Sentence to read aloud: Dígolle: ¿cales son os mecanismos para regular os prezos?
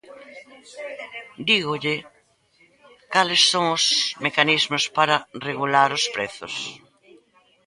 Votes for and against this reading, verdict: 0, 2, rejected